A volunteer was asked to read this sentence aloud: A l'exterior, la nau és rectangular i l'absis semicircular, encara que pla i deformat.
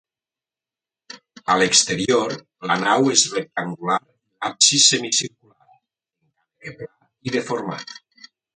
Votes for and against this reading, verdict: 0, 2, rejected